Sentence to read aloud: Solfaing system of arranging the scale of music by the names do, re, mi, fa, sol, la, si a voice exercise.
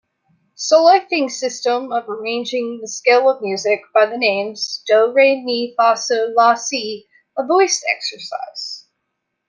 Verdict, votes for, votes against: accepted, 2, 1